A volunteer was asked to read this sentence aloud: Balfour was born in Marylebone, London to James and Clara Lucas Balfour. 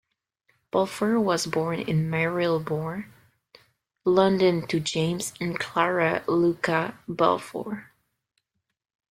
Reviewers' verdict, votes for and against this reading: rejected, 0, 2